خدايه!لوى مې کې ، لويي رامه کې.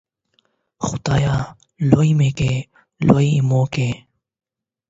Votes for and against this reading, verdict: 0, 8, rejected